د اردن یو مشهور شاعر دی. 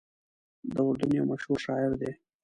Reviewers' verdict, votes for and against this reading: accepted, 2, 0